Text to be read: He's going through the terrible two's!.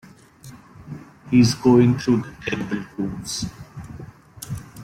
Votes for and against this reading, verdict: 0, 2, rejected